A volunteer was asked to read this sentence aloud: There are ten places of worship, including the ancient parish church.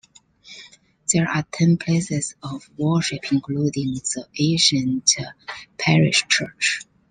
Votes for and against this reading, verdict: 0, 2, rejected